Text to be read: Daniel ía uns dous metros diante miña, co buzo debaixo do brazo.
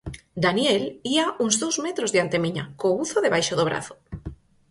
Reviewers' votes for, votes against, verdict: 4, 0, accepted